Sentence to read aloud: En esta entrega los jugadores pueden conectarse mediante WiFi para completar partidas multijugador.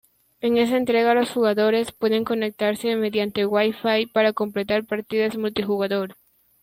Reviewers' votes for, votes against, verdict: 2, 0, accepted